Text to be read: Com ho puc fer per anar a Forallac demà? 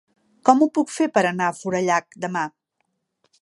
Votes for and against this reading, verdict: 4, 0, accepted